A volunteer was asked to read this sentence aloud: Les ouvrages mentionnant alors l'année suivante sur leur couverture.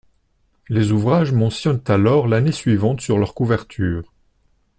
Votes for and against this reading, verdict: 0, 2, rejected